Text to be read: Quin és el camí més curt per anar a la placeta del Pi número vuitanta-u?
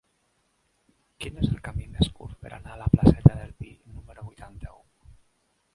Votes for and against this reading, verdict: 1, 2, rejected